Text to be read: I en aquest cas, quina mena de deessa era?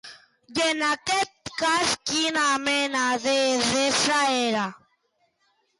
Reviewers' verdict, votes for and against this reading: rejected, 1, 2